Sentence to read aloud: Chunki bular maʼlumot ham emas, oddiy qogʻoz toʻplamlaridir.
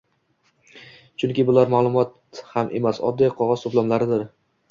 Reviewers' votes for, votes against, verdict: 2, 0, accepted